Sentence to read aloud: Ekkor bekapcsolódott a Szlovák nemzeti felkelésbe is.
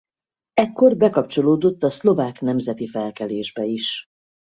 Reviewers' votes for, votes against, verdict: 4, 0, accepted